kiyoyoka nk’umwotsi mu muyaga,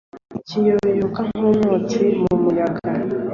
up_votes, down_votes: 2, 0